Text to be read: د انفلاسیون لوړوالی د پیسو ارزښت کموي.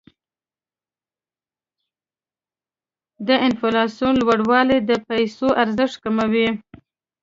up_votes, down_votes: 0, 2